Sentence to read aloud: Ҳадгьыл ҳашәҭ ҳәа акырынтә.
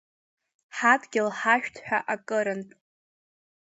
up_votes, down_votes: 2, 1